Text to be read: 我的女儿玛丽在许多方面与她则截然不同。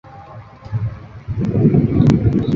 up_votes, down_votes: 0, 3